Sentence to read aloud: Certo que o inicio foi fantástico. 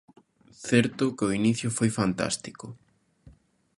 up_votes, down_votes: 2, 0